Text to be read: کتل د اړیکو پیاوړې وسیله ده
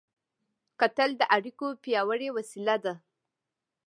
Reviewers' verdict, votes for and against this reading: accepted, 2, 0